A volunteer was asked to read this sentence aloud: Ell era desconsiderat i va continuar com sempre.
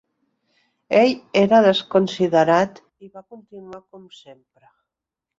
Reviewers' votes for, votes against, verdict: 0, 2, rejected